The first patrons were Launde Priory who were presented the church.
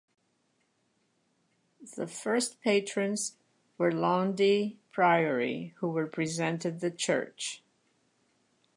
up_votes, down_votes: 1, 2